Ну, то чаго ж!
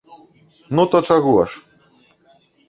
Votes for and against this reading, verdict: 2, 1, accepted